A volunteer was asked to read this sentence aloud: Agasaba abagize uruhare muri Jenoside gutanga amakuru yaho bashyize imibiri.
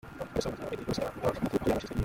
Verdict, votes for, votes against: rejected, 0, 2